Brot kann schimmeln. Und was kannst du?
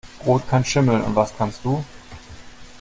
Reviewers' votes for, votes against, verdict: 2, 0, accepted